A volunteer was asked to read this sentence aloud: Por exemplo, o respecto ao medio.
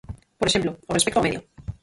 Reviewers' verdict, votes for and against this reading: rejected, 0, 4